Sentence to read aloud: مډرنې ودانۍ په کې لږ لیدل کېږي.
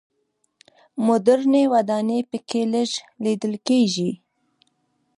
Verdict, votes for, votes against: rejected, 1, 2